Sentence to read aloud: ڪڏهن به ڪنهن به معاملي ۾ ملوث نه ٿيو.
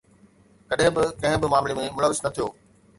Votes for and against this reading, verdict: 2, 0, accepted